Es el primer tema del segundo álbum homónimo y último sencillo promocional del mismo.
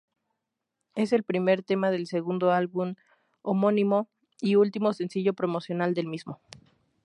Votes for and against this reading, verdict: 2, 0, accepted